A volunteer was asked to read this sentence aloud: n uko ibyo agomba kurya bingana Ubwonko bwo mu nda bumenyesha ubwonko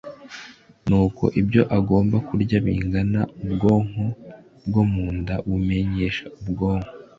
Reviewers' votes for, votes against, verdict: 2, 1, accepted